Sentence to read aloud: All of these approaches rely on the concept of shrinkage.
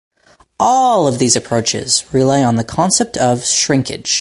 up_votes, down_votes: 2, 0